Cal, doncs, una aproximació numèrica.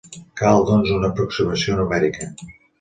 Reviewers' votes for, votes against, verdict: 2, 0, accepted